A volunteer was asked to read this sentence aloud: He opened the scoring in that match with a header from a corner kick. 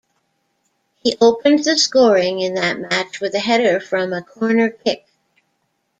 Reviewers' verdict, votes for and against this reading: accepted, 2, 0